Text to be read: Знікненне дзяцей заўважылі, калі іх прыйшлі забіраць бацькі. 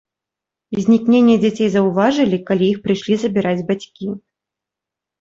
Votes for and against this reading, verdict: 2, 0, accepted